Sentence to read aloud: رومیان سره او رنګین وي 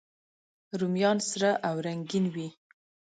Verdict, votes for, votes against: accepted, 2, 0